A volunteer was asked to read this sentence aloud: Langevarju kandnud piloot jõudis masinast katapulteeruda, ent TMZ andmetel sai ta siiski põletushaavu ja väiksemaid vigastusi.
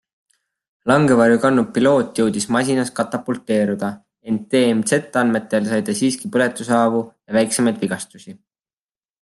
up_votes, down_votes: 2, 0